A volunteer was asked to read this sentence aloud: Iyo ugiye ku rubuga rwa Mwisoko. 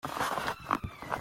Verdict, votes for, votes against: rejected, 0, 3